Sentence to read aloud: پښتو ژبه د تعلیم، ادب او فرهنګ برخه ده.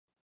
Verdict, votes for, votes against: rejected, 0, 2